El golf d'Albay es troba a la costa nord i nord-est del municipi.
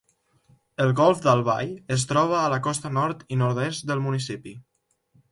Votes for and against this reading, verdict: 2, 0, accepted